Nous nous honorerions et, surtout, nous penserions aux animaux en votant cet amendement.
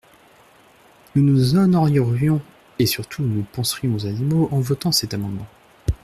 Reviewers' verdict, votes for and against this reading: rejected, 1, 2